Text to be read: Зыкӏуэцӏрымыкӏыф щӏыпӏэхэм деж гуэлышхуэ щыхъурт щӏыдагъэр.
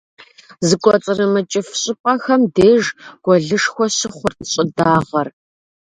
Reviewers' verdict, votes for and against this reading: accepted, 2, 0